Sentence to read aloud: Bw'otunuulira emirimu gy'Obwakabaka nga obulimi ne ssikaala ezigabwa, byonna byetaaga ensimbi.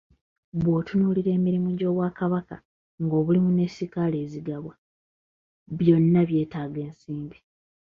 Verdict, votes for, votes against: accepted, 2, 1